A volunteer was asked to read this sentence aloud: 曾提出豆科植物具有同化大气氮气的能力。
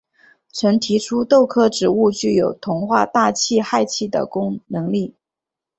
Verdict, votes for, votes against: rejected, 0, 5